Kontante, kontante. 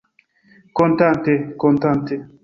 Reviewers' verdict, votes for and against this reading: accepted, 2, 0